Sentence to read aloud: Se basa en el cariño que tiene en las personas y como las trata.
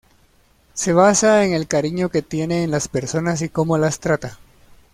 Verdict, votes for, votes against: accepted, 2, 0